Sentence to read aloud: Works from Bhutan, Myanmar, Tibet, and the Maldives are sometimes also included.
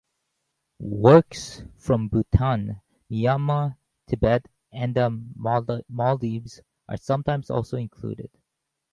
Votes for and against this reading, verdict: 0, 2, rejected